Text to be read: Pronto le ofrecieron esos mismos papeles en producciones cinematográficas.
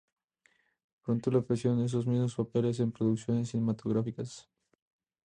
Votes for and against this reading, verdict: 4, 0, accepted